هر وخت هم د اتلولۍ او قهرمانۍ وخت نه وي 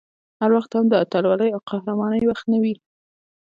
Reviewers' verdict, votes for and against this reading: rejected, 1, 2